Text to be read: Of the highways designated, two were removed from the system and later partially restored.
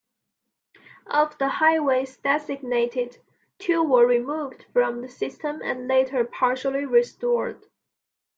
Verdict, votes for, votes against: accepted, 2, 0